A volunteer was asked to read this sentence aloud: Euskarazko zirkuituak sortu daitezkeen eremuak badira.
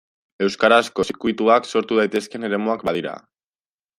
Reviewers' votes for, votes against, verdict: 2, 0, accepted